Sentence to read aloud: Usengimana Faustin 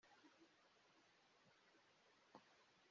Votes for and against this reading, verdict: 0, 2, rejected